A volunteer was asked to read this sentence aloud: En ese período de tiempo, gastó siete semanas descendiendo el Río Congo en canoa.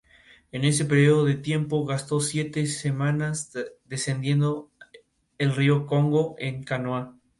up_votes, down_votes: 2, 2